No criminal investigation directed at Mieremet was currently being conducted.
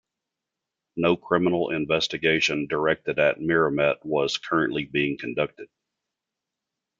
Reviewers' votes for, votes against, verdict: 2, 0, accepted